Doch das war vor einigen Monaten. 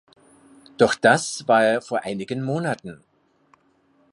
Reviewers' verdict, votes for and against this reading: rejected, 1, 3